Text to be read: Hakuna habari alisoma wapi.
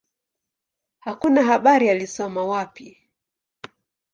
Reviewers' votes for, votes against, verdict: 10, 1, accepted